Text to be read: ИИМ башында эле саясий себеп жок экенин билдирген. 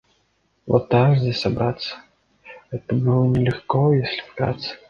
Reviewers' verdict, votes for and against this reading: rejected, 0, 2